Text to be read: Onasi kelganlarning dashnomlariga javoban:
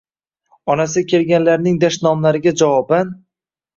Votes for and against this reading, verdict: 2, 0, accepted